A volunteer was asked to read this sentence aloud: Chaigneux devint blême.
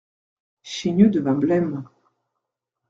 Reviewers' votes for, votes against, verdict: 2, 1, accepted